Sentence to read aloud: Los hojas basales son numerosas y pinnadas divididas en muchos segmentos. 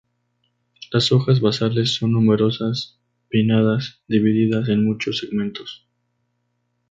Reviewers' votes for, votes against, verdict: 2, 2, rejected